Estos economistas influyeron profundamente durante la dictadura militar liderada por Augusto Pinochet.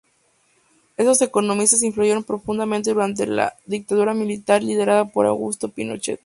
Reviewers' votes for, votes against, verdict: 0, 4, rejected